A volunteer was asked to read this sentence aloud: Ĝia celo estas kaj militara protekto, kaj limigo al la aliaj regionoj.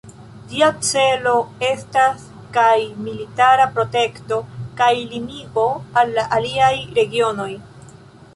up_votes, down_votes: 3, 0